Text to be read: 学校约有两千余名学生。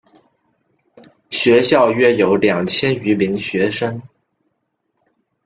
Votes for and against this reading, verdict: 2, 0, accepted